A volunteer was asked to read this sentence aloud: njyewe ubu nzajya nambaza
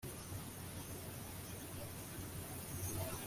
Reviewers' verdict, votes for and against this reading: rejected, 0, 2